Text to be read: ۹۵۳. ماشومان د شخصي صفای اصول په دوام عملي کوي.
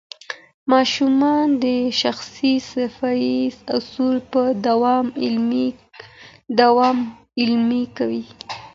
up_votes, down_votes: 0, 2